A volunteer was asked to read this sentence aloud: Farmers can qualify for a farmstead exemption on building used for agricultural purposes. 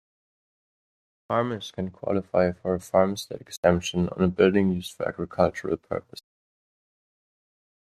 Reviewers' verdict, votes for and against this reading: accepted, 2, 0